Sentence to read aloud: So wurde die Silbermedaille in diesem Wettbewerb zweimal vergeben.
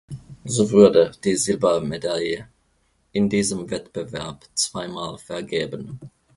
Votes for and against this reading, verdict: 1, 2, rejected